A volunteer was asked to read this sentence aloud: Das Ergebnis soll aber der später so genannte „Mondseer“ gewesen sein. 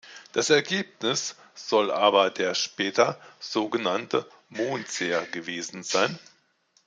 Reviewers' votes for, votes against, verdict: 2, 0, accepted